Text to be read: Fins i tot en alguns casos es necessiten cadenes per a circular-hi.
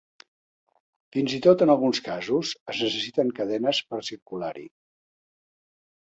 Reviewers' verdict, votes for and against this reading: accepted, 2, 0